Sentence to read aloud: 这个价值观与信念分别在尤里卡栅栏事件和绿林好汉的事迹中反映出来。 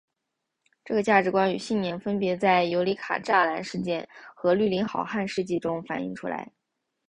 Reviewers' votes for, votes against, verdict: 2, 0, accepted